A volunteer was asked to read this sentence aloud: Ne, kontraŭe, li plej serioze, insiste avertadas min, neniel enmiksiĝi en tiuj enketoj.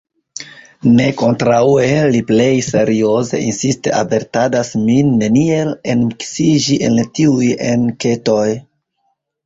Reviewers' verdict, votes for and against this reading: rejected, 1, 3